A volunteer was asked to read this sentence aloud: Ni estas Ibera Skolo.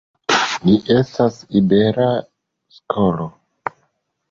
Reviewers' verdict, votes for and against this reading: accepted, 2, 0